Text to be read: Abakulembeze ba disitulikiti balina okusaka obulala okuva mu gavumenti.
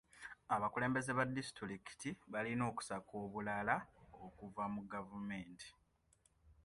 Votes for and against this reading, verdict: 2, 0, accepted